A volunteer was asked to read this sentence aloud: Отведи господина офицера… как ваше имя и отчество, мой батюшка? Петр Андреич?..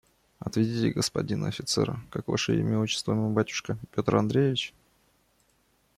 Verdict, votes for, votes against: rejected, 0, 2